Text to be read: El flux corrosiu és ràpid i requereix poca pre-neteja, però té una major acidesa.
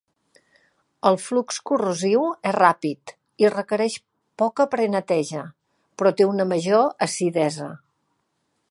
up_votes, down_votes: 2, 0